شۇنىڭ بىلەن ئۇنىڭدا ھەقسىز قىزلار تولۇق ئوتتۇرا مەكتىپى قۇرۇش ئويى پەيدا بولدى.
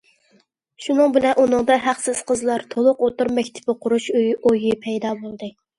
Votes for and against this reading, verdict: 0, 2, rejected